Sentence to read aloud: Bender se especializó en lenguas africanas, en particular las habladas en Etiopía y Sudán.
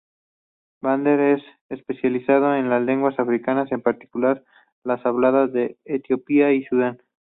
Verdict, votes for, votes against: rejected, 0, 2